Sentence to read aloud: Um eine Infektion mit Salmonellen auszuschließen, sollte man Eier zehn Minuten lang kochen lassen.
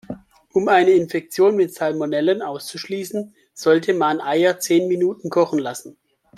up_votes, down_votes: 1, 2